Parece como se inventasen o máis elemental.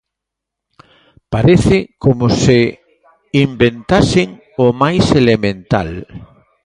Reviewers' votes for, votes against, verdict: 0, 2, rejected